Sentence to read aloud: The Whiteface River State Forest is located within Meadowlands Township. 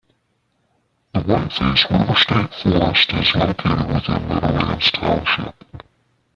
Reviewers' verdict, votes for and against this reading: rejected, 0, 2